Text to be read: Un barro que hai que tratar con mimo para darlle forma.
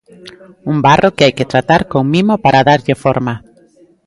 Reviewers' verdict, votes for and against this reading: accepted, 2, 0